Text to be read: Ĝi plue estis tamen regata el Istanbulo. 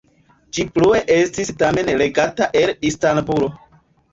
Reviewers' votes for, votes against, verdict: 1, 2, rejected